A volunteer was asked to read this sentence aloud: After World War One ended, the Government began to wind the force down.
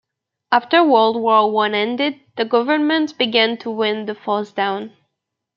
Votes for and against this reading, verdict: 2, 1, accepted